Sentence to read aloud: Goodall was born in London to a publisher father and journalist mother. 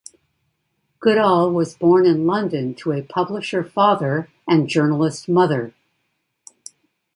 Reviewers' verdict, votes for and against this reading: accepted, 2, 0